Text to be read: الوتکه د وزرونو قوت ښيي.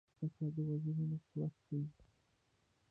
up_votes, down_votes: 0, 2